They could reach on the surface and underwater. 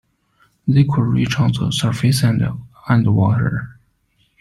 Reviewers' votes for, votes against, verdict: 0, 2, rejected